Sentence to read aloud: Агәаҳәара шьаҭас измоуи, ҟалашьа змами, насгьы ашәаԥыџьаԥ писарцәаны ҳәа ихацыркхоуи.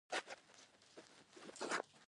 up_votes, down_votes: 1, 2